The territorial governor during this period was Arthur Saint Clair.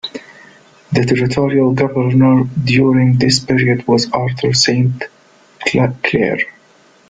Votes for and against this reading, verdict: 1, 2, rejected